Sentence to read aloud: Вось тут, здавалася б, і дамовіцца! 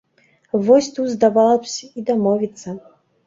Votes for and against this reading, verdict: 1, 2, rejected